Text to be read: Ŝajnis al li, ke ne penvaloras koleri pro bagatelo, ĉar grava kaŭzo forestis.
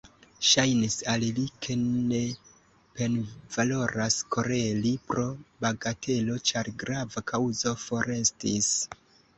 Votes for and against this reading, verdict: 0, 2, rejected